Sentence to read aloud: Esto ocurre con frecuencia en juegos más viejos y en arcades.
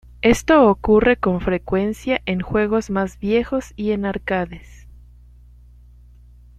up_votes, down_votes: 1, 2